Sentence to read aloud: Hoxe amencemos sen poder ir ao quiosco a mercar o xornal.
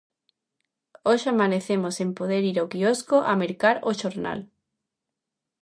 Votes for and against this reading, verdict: 0, 2, rejected